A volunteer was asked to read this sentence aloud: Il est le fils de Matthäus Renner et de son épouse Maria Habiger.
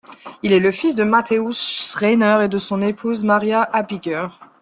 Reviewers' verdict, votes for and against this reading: rejected, 2, 3